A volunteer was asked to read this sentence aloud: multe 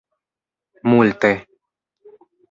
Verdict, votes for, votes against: accepted, 2, 0